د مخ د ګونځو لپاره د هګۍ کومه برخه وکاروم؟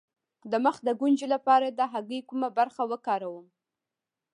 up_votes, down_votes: 2, 0